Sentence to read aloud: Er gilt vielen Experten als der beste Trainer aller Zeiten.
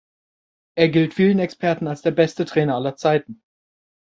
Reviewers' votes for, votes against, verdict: 2, 0, accepted